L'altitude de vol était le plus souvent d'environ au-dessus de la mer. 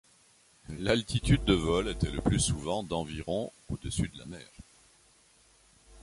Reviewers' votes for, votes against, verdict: 2, 0, accepted